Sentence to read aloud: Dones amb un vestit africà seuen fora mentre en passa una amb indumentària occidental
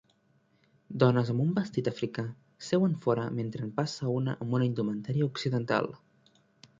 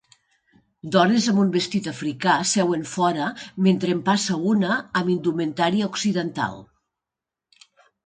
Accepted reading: second